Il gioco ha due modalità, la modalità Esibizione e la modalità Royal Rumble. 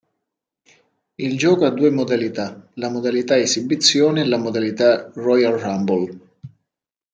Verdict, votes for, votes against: accepted, 2, 0